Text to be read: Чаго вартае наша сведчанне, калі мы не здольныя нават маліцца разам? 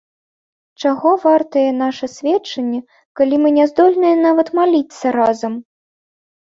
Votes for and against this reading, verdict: 2, 0, accepted